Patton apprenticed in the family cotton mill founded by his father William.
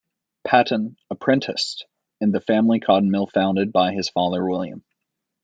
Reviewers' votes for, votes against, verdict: 2, 0, accepted